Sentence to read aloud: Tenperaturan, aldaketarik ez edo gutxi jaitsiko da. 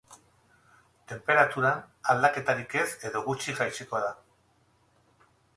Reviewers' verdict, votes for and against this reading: rejected, 4, 4